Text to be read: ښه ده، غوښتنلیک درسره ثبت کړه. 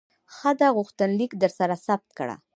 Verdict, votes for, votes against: rejected, 0, 2